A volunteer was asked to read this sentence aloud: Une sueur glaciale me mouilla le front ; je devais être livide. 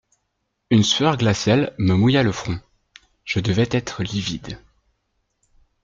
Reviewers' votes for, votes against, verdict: 1, 2, rejected